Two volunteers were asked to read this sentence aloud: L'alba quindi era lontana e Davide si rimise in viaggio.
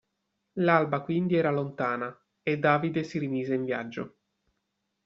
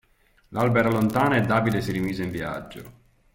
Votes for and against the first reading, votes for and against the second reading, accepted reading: 2, 0, 0, 2, first